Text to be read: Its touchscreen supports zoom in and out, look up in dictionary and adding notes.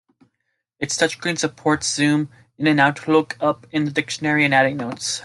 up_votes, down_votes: 2, 1